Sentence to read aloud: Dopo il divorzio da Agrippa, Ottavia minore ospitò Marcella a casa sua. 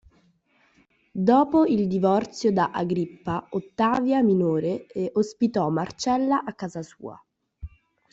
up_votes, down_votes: 0, 2